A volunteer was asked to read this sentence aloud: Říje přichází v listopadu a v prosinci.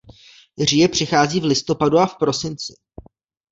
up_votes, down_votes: 2, 0